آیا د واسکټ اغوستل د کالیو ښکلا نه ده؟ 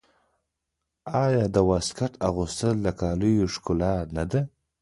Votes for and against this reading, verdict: 1, 2, rejected